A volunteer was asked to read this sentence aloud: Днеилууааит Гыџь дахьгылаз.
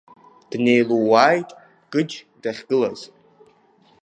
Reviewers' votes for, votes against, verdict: 2, 0, accepted